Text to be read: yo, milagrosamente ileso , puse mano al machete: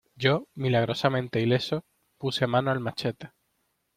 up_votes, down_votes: 2, 0